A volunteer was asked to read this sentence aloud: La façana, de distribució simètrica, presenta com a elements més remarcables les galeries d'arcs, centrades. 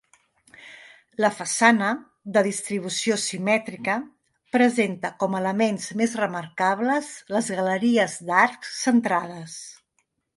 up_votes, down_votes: 2, 0